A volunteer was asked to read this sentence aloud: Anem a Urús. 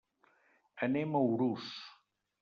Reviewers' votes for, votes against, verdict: 3, 0, accepted